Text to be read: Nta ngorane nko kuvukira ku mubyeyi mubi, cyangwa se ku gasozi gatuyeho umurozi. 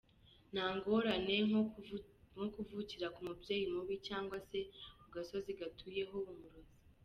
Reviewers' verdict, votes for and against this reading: rejected, 0, 2